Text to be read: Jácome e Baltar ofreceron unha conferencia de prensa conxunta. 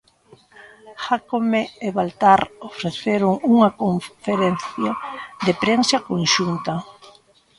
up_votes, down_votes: 0, 2